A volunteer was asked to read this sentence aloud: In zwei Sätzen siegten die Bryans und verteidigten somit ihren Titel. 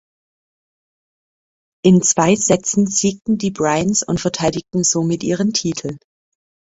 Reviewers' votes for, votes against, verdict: 2, 0, accepted